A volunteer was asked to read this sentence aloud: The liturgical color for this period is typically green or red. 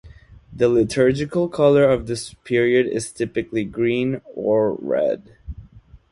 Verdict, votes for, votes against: rejected, 1, 2